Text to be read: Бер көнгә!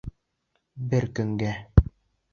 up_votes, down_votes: 2, 0